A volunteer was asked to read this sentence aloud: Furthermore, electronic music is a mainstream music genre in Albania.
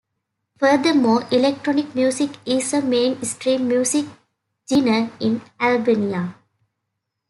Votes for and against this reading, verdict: 0, 2, rejected